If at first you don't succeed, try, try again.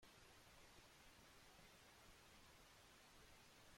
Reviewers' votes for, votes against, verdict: 1, 2, rejected